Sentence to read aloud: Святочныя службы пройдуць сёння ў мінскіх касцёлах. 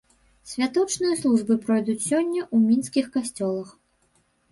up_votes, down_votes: 0, 2